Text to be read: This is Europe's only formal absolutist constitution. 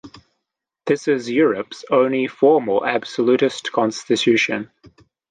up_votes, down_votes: 2, 0